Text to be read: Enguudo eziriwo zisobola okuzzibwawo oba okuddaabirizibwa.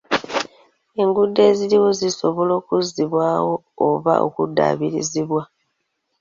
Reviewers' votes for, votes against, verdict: 2, 0, accepted